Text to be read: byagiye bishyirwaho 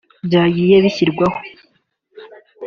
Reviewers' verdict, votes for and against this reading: accepted, 2, 0